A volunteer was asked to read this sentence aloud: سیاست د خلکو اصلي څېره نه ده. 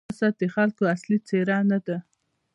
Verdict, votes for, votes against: accepted, 2, 0